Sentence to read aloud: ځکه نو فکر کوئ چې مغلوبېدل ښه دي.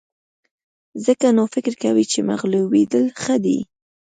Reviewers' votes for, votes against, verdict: 2, 0, accepted